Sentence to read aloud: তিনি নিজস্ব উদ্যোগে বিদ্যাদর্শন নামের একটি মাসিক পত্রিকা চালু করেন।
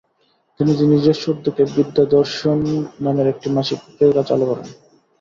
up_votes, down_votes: 0, 2